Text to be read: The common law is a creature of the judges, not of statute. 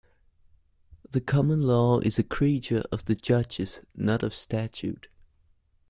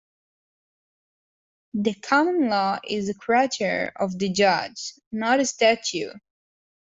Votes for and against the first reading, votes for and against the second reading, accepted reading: 2, 1, 0, 2, first